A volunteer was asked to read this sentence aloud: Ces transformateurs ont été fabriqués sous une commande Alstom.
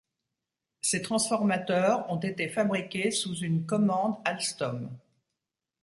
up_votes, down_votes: 2, 0